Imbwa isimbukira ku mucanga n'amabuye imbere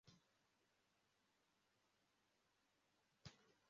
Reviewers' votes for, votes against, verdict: 0, 2, rejected